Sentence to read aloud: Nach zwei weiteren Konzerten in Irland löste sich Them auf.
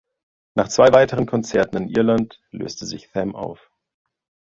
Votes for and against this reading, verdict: 1, 2, rejected